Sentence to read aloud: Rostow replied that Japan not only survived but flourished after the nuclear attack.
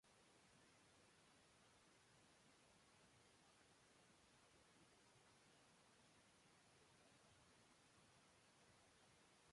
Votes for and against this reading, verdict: 0, 2, rejected